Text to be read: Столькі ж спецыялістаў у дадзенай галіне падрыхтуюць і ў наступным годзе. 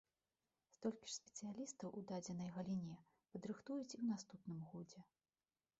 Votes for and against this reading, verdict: 0, 2, rejected